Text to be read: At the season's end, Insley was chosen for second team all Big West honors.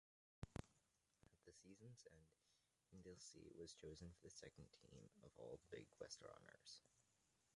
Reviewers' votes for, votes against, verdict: 0, 2, rejected